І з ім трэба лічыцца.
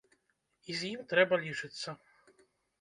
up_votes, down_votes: 1, 2